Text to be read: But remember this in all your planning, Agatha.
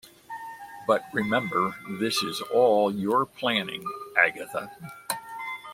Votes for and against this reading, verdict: 1, 2, rejected